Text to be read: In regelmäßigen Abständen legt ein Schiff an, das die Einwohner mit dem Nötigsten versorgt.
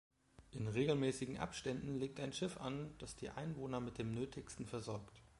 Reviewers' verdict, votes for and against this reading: accepted, 2, 1